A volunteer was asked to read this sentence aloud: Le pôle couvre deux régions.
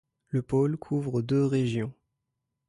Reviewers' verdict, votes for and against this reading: accepted, 2, 0